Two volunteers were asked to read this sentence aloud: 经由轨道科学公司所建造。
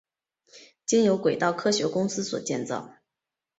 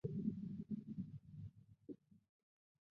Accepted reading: first